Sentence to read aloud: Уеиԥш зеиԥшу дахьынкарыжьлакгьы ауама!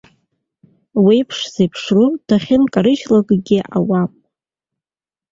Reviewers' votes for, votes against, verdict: 2, 1, accepted